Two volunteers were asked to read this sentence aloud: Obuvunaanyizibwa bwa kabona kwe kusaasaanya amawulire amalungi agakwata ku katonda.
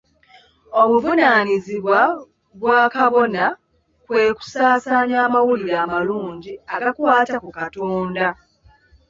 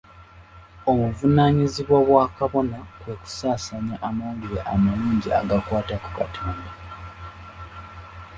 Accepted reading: second